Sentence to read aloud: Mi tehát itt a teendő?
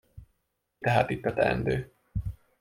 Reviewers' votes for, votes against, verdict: 1, 2, rejected